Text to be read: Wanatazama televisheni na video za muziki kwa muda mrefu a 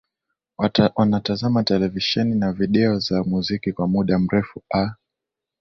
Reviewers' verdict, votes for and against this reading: accepted, 2, 1